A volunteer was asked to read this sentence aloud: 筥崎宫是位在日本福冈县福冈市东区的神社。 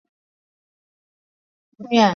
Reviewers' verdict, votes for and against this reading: accepted, 3, 0